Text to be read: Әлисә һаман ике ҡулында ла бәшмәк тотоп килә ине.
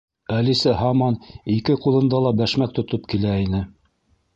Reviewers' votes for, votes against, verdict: 0, 2, rejected